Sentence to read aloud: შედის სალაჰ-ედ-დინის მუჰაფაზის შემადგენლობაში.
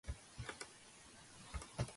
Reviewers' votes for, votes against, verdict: 0, 2, rejected